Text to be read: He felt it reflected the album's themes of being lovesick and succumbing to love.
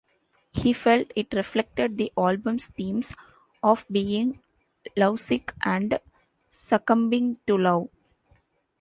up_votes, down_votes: 2, 1